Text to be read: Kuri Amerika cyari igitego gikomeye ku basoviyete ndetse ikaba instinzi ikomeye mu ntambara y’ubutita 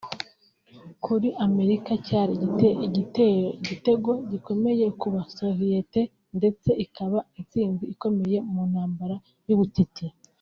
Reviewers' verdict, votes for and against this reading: rejected, 1, 3